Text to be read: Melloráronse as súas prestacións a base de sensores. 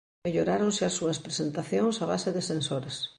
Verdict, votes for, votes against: rejected, 1, 2